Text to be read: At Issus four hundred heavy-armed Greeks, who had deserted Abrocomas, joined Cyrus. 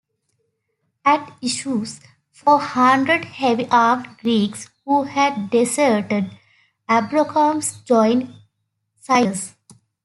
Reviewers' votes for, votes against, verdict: 2, 0, accepted